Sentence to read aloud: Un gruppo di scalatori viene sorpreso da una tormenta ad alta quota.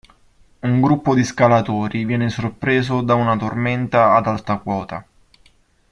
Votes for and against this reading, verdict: 2, 1, accepted